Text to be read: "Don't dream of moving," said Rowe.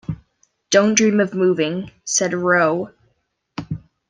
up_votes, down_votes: 2, 0